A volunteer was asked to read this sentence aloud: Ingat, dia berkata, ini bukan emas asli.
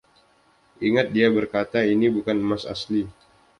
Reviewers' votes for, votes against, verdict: 2, 0, accepted